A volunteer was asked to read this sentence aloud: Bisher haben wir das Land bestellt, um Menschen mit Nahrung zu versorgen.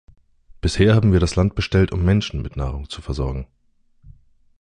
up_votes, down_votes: 2, 0